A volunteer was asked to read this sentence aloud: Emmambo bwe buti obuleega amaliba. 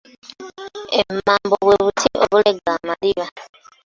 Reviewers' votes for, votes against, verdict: 1, 2, rejected